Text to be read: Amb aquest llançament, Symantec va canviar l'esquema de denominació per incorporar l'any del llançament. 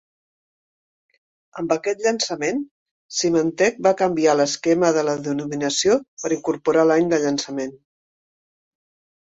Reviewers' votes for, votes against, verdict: 1, 3, rejected